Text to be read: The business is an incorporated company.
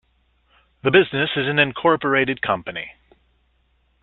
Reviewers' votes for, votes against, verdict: 2, 0, accepted